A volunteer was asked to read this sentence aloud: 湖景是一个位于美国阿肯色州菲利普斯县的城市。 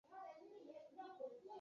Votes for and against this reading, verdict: 1, 5, rejected